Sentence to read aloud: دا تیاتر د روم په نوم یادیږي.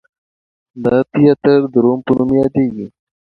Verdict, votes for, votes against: accepted, 2, 0